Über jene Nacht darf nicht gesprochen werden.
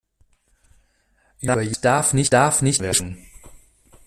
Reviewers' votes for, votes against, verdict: 0, 2, rejected